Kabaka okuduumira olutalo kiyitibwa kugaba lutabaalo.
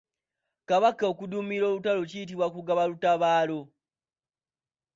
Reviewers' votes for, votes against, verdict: 3, 0, accepted